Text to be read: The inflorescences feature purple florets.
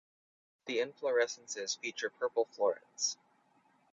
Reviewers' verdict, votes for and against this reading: accepted, 4, 0